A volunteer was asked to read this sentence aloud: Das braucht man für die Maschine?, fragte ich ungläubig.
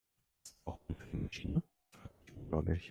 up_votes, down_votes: 1, 2